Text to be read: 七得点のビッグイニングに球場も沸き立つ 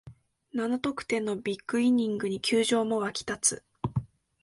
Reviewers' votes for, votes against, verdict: 3, 0, accepted